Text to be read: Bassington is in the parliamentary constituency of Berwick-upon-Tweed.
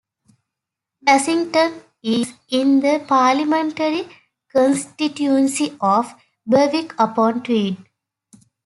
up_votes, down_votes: 1, 2